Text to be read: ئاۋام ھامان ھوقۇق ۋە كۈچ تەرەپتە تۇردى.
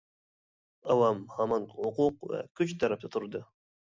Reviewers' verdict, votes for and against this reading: rejected, 1, 2